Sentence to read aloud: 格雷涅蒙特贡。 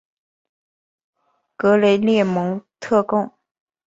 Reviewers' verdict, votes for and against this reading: accepted, 2, 0